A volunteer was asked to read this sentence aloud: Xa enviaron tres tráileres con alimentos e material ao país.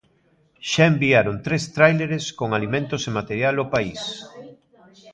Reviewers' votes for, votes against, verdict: 2, 0, accepted